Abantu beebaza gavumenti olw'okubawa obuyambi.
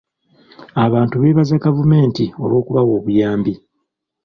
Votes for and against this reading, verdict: 2, 0, accepted